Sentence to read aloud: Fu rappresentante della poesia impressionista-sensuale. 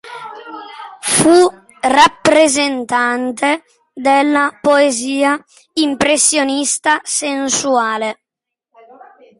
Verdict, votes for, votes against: accepted, 2, 0